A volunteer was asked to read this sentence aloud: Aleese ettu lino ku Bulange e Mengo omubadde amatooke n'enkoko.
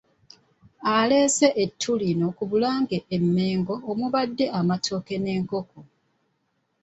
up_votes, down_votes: 1, 2